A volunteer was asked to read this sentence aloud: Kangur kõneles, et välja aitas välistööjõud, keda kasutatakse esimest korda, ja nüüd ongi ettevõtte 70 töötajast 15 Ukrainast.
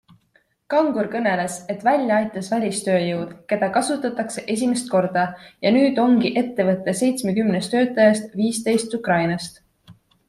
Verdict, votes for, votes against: rejected, 0, 2